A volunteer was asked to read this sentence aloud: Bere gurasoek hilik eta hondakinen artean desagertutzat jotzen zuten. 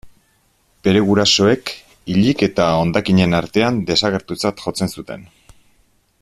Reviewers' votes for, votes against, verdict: 2, 0, accepted